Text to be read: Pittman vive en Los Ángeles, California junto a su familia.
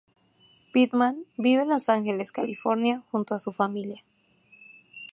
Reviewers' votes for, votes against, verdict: 2, 0, accepted